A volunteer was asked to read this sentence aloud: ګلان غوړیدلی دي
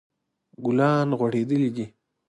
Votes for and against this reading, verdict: 2, 0, accepted